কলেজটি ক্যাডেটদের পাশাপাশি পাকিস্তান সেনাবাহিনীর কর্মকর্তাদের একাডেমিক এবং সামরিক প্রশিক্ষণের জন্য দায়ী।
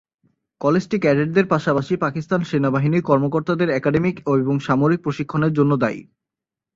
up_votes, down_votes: 0, 2